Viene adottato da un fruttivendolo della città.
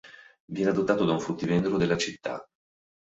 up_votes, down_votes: 2, 0